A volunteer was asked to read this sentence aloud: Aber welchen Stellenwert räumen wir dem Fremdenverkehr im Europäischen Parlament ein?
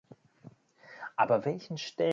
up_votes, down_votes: 0, 2